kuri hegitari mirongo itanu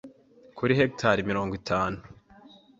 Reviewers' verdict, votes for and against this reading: accepted, 2, 0